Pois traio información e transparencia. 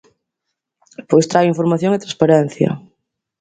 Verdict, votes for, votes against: accepted, 2, 0